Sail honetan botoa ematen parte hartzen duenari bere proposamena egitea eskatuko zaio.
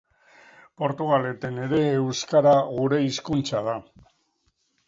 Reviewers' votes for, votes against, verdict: 0, 2, rejected